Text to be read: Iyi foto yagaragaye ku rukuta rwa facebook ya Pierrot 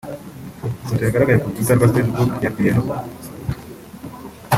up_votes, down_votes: 1, 2